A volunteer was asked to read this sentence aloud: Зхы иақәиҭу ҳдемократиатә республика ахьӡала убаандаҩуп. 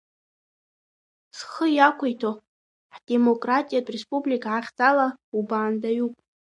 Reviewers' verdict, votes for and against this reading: rejected, 1, 2